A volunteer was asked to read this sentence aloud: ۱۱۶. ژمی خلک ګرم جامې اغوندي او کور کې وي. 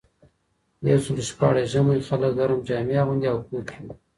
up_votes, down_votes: 0, 2